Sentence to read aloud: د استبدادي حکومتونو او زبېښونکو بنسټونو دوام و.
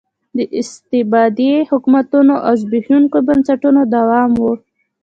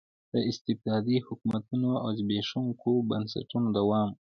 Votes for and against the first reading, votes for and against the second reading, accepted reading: 0, 2, 2, 0, second